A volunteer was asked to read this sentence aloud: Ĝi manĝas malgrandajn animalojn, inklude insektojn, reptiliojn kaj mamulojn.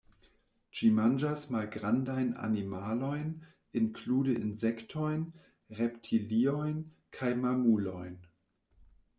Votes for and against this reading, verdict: 1, 2, rejected